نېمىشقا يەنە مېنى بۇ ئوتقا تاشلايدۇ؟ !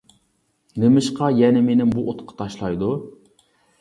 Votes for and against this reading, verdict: 2, 0, accepted